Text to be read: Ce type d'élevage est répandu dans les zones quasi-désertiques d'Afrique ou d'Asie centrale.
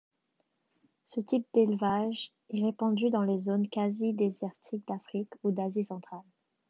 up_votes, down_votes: 2, 0